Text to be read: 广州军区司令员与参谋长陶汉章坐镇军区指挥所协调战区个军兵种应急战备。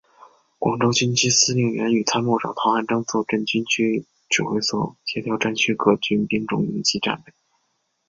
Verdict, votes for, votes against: accepted, 2, 0